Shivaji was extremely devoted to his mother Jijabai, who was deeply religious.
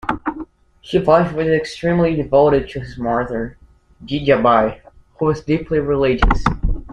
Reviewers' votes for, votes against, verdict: 1, 3, rejected